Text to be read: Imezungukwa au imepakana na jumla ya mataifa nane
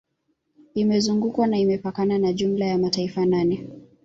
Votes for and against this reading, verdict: 1, 2, rejected